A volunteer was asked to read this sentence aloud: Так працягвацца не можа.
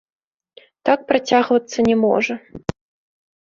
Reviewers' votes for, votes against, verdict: 2, 0, accepted